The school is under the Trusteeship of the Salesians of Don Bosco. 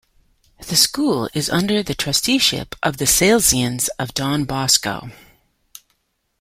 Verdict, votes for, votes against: accepted, 2, 0